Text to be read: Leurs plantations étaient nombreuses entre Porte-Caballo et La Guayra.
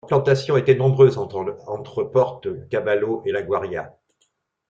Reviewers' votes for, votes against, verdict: 0, 2, rejected